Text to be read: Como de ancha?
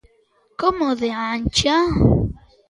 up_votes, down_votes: 2, 0